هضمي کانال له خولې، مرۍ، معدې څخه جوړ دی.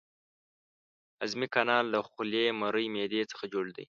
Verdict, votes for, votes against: accepted, 2, 0